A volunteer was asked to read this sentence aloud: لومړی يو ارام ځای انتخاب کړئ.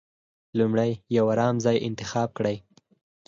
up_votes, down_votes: 4, 0